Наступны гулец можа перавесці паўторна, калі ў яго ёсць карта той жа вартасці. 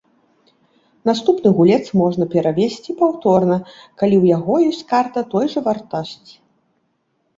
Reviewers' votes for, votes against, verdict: 0, 2, rejected